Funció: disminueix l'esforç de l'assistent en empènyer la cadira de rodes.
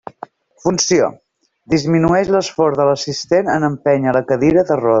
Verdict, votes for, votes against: rejected, 0, 2